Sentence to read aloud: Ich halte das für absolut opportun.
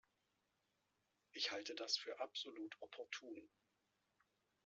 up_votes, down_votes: 1, 2